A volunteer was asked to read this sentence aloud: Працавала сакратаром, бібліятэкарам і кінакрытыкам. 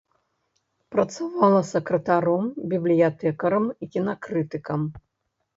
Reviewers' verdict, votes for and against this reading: rejected, 0, 2